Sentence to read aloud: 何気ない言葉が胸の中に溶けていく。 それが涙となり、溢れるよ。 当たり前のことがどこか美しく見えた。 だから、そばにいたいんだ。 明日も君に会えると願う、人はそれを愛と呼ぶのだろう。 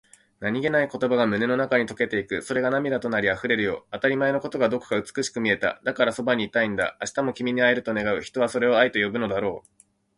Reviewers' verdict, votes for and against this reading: accepted, 2, 0